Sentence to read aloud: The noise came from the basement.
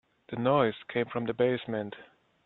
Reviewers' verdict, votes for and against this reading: accepted, 2, 1